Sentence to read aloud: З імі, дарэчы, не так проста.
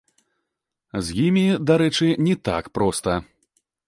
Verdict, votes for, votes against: rejected, 0, 2